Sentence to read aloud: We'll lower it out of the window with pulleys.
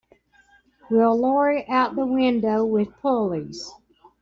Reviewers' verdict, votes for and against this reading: rejected, 0, 2